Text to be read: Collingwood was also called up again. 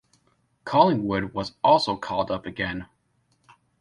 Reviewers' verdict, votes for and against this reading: accepted, 2, 0